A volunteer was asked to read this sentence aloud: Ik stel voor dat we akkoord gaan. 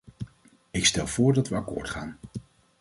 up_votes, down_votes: 2, 0